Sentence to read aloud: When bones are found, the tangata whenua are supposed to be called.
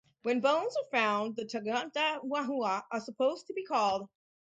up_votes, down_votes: 2, 2